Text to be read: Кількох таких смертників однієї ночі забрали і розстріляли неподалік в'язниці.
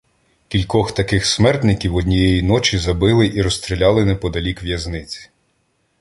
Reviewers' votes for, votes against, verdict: 0, 2, rejected